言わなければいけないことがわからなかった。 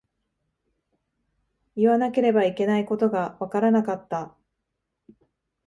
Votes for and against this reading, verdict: 2, 0, accepted